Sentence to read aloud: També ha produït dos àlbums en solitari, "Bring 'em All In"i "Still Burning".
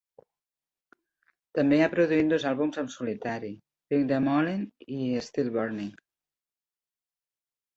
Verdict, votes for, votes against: rejected, 0, 2